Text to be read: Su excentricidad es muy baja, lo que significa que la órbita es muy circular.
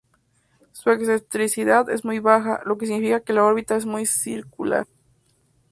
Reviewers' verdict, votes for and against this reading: accepted, 2, 0